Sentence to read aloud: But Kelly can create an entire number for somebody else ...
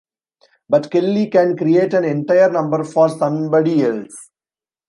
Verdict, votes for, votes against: accepted, 2, 0